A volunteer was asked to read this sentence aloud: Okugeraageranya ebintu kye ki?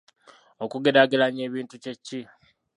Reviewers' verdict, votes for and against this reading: rejected, 0, 2